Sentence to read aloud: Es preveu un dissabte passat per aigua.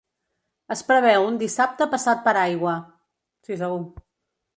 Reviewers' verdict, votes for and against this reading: rejected, 1, 2